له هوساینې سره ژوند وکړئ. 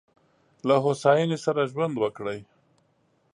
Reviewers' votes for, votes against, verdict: 2, 0, accepted